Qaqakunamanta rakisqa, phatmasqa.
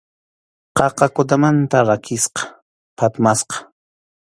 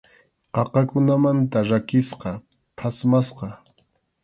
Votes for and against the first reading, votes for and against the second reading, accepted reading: 0, 2, 2, 0, second